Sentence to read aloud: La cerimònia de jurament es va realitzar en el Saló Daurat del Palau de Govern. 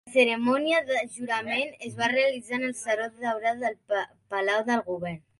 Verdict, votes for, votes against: rejected, 0, 2